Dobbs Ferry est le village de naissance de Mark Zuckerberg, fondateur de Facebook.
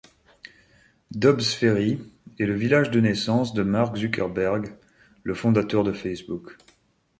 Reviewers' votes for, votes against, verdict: 1, 2, rejected